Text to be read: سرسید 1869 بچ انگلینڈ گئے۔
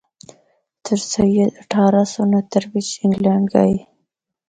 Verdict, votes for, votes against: rejected, 0, 2